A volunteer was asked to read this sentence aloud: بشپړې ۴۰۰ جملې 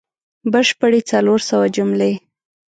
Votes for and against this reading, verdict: 0, 2, rejected